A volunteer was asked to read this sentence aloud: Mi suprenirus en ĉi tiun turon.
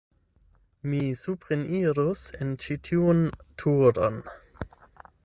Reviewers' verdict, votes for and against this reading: accepted, 8, 0